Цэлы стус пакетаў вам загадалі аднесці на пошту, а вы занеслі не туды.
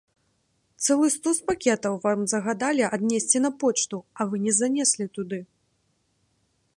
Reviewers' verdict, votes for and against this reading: rejected, 0, 2